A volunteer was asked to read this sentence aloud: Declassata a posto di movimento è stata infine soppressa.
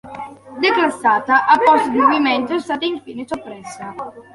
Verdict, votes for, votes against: accepted, 2, 1